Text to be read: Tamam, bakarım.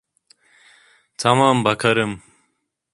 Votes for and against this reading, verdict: 2, 0, accepted